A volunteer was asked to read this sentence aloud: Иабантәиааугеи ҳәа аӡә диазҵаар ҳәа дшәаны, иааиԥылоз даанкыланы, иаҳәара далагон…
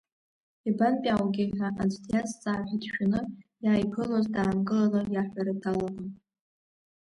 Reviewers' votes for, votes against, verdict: 2, 0, accepted